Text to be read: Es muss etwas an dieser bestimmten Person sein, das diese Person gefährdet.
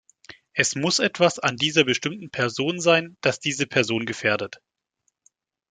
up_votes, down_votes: 1, 2